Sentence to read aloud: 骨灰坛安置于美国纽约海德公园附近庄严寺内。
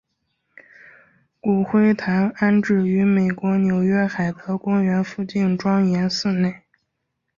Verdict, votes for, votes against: accepted, 3, 0